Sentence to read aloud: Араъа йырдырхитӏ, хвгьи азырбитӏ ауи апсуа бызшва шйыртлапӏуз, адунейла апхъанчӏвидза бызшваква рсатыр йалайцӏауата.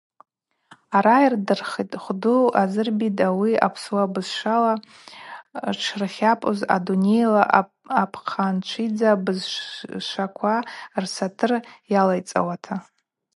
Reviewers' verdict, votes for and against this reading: rejected, 0, 4